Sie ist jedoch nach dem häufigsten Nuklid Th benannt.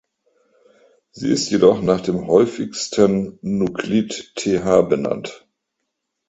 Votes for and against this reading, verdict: 2, 0, accepted